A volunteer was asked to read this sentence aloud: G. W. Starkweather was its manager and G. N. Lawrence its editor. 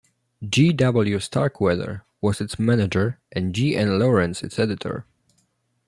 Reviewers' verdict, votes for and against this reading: accepted, 2, 0